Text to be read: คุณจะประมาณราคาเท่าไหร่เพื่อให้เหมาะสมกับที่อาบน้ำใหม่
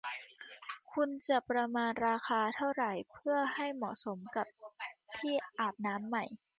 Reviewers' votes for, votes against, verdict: 2, 1, accepted